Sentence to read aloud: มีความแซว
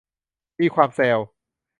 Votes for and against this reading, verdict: 2, 0, accepted